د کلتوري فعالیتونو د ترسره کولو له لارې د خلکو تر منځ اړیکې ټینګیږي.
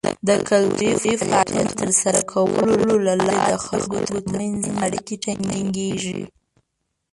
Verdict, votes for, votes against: rejected, 1, 2